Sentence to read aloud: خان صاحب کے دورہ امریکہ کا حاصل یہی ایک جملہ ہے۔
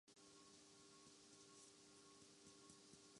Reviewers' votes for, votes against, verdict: 0, 2, rejected